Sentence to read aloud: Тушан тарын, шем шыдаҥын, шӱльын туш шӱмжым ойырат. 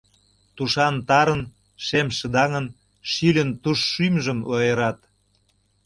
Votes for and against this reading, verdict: 2, 0, accepted